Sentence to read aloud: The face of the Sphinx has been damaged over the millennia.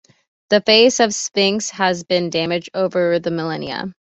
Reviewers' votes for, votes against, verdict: 1, 2, rejected